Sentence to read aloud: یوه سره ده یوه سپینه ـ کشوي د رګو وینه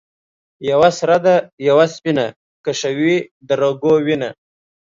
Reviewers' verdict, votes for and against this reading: accepted, 2, 0